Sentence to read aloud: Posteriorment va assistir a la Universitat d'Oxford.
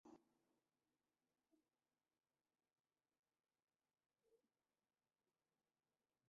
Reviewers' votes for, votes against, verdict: 1, 2, rejected